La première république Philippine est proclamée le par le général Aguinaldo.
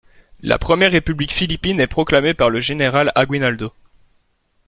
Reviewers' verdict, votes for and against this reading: rejected, 0, 2